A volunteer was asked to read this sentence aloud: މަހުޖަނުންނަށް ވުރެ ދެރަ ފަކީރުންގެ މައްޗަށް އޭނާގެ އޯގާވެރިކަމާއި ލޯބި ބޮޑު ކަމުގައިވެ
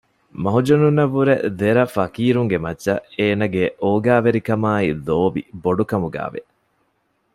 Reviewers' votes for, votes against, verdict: 1, 2, rejected